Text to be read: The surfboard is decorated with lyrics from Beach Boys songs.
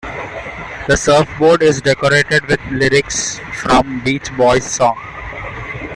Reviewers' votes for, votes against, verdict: 2, 0, accepted